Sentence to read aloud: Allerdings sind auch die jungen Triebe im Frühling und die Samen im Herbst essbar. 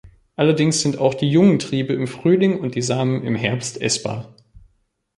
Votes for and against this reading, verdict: 2, 0, accepted